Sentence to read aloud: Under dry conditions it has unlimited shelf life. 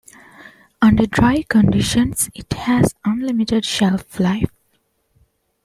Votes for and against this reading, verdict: 2, 0, accepted